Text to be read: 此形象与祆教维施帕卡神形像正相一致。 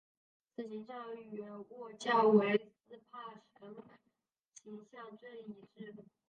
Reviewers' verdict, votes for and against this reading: rejected, 0, 2